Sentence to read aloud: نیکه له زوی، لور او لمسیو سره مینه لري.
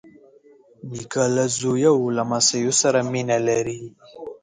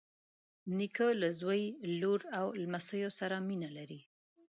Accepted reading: second